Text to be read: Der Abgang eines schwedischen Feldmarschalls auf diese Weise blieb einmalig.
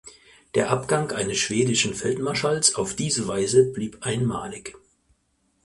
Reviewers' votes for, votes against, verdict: 4, 0, accepted